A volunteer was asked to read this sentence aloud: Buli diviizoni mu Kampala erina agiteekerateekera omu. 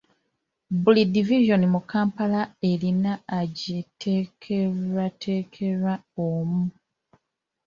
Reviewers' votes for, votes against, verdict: 1, 2, rejected